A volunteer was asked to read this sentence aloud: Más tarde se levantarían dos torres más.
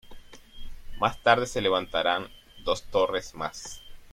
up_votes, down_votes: 1, 2